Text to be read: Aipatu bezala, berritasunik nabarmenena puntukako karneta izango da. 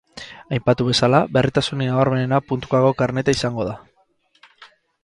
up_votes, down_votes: 4, 0